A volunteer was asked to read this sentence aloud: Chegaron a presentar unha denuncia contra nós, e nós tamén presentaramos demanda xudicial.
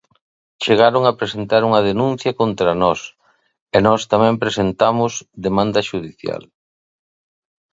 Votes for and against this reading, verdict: 0, 3, rejected